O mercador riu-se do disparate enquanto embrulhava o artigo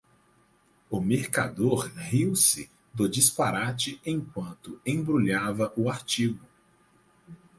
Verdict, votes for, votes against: accepted, 4, 0